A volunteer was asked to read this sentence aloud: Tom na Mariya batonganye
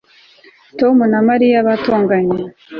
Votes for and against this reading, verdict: 3, 0, accepted